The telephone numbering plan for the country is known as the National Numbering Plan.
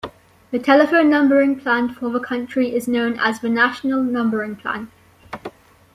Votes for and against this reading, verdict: 2, 0, accepted